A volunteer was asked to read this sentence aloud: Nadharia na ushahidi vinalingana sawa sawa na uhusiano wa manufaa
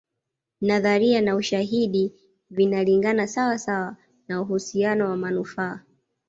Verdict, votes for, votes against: accepted, 2, 0